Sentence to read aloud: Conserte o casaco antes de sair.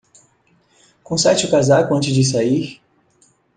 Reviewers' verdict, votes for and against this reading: rejected, 0, 2